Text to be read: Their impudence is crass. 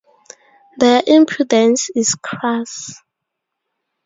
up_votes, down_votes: 2, 0